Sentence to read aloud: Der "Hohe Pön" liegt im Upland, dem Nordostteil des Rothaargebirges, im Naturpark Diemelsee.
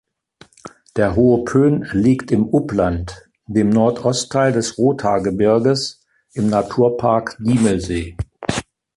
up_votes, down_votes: 2, 0